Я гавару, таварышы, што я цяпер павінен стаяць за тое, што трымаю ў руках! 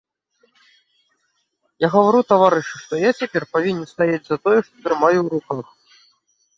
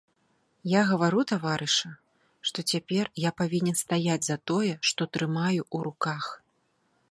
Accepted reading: first